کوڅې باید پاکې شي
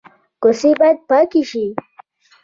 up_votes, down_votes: 2, 0